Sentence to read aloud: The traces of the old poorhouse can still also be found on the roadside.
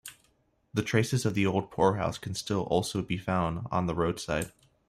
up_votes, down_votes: 1, 2